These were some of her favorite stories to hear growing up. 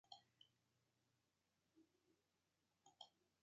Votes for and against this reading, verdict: 0, 2, rejected